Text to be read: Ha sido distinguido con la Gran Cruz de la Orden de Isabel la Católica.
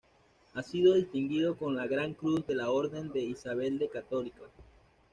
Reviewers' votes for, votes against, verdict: 1, 2, rejected